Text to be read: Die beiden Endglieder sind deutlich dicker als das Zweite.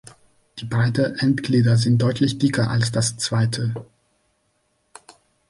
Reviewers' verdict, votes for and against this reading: rejected, 1, 3